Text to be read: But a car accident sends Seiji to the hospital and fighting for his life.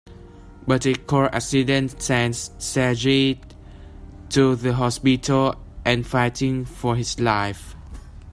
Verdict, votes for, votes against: accepted, 2, 1